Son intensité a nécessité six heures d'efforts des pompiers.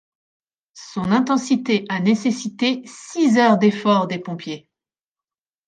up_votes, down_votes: 2, 0